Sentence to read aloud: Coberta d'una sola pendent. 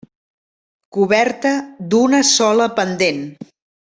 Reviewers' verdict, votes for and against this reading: accepted, 3, 0